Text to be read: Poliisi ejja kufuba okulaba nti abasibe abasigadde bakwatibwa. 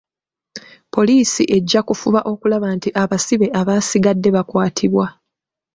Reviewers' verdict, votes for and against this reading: rejected, 1, 2